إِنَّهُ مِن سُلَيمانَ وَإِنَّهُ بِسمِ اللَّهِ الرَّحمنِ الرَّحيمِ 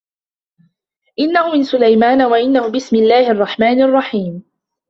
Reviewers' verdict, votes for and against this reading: accepted, 2, 1